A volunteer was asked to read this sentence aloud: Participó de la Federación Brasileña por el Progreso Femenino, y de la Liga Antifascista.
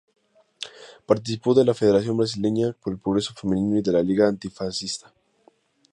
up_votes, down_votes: 4, 0